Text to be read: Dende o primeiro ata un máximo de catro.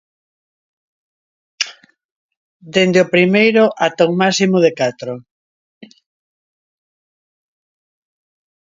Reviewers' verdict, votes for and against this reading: accepted, 2, 0